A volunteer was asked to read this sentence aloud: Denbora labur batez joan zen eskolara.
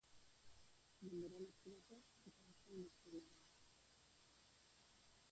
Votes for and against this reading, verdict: 0, 7, rejected